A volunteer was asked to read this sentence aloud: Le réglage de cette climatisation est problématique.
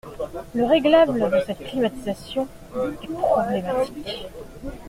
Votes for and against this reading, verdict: 1, 2, rejected